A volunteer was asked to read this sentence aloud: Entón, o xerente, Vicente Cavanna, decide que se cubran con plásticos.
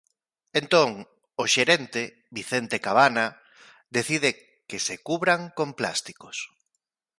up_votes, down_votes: 2, 0